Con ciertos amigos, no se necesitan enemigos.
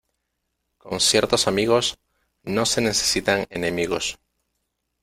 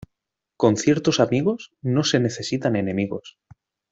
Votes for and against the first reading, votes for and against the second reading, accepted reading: 0, 2, 2, 0, second